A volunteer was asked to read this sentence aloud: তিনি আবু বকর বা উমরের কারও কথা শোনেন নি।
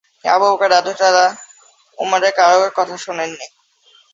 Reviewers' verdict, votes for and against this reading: rejected, 0, 2